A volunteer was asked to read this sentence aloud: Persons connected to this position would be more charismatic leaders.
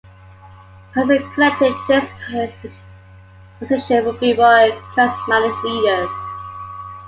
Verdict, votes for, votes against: rejected, 1, 2